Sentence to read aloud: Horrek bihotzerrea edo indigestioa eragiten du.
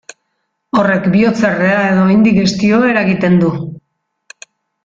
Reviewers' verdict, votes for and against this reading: accepted, 2, 0